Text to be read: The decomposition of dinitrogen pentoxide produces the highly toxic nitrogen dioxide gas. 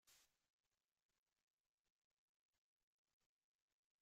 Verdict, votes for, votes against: rejected, 0, 2